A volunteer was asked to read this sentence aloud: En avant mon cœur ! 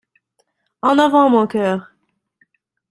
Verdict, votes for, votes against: accepted, 2, 0